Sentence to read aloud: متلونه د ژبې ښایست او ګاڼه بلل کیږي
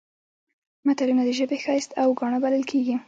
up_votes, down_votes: 1, 2